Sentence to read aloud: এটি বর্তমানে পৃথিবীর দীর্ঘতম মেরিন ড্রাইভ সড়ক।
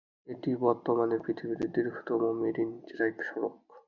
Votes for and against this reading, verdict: 3, 0, accepted